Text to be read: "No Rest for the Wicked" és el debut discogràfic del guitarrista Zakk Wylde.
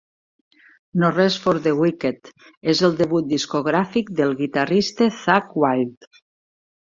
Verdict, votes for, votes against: rejected, 1, 2